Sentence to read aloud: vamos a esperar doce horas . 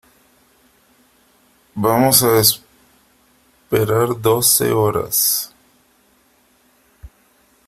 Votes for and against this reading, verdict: 1, 2, rejected